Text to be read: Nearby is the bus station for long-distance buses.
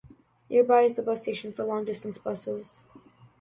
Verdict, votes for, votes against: accepted, 2, 0